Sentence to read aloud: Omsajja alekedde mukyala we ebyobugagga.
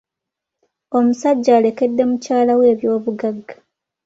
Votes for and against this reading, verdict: 2, 1, accepted